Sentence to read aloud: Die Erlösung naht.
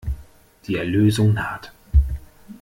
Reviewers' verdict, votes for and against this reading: accepted, 2, 0